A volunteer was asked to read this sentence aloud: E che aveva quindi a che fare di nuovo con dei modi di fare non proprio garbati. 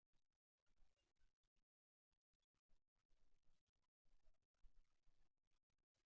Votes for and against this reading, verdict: 0, 2, rejected